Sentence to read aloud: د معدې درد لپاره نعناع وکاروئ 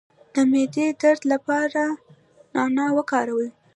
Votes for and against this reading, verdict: 0, 2, rejected